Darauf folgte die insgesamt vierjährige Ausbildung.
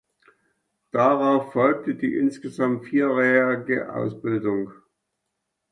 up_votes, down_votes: 1, 2